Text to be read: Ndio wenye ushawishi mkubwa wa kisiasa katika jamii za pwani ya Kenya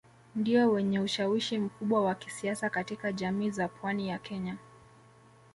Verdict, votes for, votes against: rejected, 1, 2